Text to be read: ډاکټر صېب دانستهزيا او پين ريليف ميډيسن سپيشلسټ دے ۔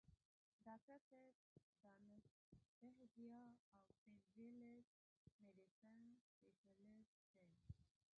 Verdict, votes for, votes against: accepted, 2, 1